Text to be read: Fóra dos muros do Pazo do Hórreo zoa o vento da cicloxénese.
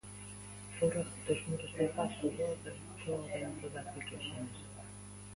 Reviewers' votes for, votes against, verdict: 0, 2, rejected